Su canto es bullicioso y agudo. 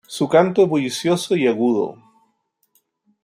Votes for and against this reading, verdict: 2, 1, accepted